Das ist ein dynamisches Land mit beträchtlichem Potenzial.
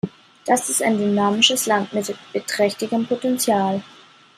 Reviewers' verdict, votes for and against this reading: rejected, 1, 2